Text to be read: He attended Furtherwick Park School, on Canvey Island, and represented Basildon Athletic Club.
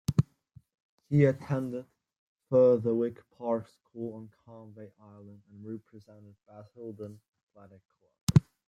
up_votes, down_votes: 0, 2